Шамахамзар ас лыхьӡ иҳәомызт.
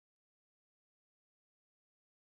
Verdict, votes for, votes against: rejected, 0, 2